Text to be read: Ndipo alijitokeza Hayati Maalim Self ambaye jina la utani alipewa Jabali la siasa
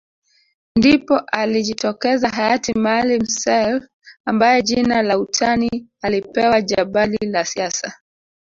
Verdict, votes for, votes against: rejected, 1, 2